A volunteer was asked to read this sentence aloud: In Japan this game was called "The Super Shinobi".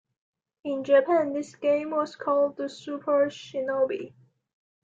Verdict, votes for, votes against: accepted, 2, 0